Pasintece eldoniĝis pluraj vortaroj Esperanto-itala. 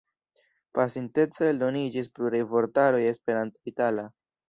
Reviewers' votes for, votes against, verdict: 2, 0, accepted